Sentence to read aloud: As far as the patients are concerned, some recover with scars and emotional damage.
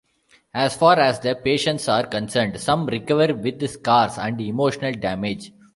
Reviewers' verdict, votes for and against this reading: rejected, 1, 2